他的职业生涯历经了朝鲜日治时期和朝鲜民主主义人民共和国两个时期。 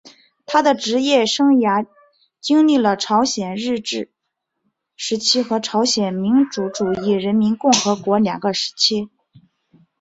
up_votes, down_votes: 2, 2